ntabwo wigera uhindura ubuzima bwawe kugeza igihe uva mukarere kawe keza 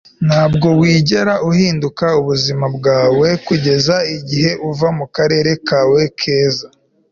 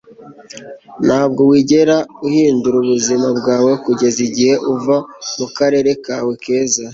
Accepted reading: second